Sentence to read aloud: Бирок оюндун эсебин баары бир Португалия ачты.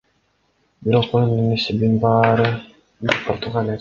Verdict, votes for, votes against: accepted, 2, 1